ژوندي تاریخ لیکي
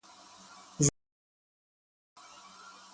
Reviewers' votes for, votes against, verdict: 0, 6, rejected